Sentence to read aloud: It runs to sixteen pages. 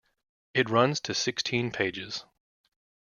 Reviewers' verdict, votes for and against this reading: accepted, 3, 0